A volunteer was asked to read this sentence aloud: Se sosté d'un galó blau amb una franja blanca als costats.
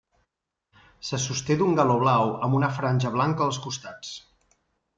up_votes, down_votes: 3, 0